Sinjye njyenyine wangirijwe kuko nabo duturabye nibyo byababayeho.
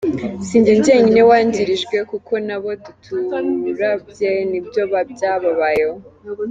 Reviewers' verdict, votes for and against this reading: accepted, 2, 1